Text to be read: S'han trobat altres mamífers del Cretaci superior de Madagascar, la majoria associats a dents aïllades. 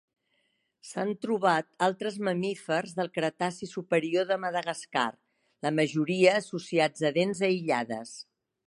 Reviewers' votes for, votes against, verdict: 3, 0, accepted